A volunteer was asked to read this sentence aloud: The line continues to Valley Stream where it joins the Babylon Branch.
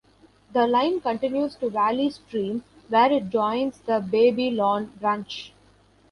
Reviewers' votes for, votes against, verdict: 1, 2, rejected